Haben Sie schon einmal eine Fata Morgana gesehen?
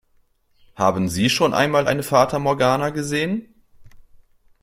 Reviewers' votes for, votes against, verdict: 2, 0, accepted